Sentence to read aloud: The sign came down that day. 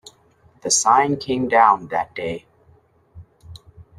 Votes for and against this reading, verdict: 2, 0, accepted